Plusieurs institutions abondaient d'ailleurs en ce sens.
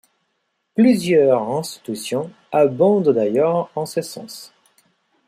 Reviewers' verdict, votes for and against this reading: rejected, 1, 2